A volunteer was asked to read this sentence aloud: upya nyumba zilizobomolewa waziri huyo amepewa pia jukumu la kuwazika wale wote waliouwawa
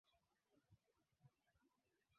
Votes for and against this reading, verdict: 0, 6, rejected